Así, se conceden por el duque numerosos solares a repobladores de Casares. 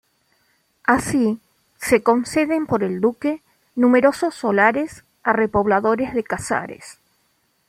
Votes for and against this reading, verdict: 2, 0, accepted